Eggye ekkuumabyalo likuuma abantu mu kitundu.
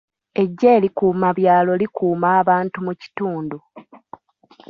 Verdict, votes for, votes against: rejected, 1, 2